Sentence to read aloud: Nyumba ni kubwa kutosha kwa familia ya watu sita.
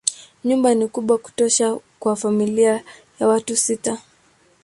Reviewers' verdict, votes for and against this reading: accepted, 12, 0